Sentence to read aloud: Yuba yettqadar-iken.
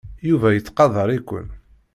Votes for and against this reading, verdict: 2, 0, accepted